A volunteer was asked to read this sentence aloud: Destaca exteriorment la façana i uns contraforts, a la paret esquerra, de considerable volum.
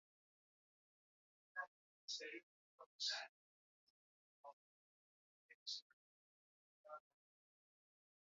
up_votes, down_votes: 0, 3